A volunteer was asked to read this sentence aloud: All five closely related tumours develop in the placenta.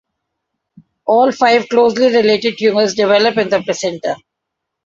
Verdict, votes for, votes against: accepted, 2, 0